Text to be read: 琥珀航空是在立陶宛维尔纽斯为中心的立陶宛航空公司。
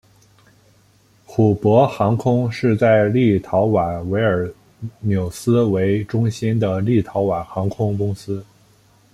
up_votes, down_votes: 0, 2